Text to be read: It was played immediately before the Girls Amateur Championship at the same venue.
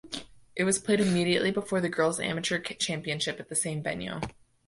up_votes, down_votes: 1, 2